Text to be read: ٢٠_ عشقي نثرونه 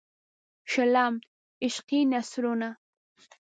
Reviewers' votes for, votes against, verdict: 0, 2, rejected